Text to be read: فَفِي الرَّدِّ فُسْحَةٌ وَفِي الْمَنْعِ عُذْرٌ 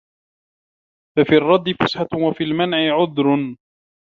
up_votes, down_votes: 2, 0